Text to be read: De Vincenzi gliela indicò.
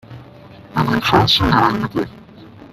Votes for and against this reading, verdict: 0, 2, rejected